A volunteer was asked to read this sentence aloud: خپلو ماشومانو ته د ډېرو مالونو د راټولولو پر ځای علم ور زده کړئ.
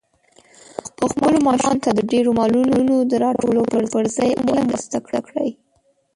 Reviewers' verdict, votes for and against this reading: rejected, 1, 2